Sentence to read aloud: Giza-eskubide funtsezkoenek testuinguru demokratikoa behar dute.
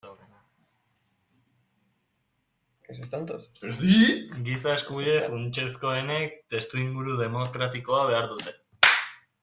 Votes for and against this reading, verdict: 0, 2, rejected